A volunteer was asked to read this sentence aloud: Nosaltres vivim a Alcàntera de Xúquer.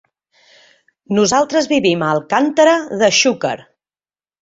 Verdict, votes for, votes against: accepted, 2, 0